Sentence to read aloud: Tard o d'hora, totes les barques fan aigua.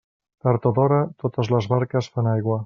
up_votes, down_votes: 2, 0